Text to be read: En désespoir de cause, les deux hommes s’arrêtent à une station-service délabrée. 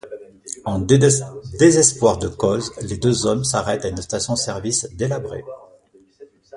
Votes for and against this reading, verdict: 0, 2, rejected